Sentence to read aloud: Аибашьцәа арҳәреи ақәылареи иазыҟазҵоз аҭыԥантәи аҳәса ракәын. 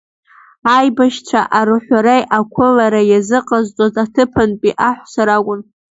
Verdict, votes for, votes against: accepted, 2, 0